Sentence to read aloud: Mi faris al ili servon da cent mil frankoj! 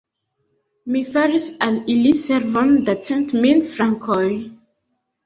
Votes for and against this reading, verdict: 3, 0, accepted